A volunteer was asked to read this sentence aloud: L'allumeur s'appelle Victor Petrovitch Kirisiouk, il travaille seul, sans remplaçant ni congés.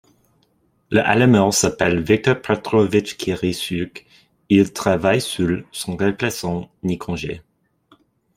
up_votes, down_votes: 0, 2